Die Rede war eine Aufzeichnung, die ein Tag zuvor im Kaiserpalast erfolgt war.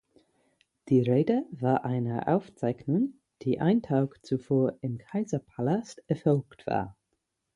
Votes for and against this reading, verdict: 6, 0, accepted